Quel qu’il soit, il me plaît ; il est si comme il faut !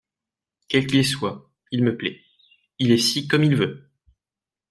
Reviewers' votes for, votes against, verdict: 0, 2, rejected